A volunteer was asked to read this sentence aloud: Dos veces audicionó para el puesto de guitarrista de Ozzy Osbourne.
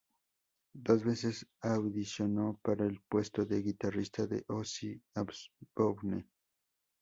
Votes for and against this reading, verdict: 2, 0, accepted